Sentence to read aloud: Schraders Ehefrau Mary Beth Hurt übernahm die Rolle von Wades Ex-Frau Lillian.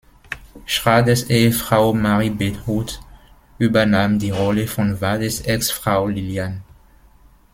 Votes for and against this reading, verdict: 0, 2, rejected